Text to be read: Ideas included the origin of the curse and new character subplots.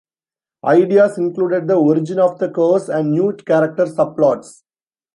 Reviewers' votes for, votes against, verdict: 2, 1, accepted